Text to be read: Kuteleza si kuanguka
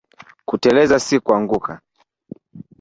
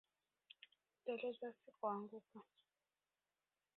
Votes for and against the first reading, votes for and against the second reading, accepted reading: 2, 1, 1, 3, first